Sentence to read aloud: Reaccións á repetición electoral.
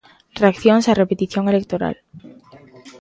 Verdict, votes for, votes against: accepted, 2, 0